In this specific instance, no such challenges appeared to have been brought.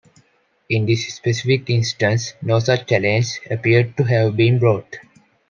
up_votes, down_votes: 0, 2